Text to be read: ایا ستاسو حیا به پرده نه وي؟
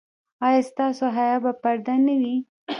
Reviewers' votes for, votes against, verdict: 0, 2, rejected